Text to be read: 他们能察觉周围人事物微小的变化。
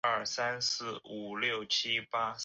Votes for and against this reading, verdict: 0, 2, rejected